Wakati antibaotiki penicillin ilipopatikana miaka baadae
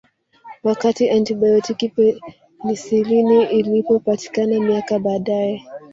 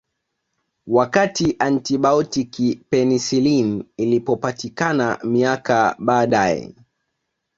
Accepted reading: second